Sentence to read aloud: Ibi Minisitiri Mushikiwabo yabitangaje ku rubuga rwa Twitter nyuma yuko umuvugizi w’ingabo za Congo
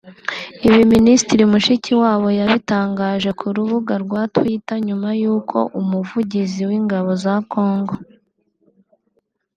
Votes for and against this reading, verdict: 2, 1, accepted